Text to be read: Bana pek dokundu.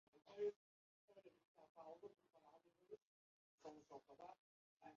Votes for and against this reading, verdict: 0, 2, rejected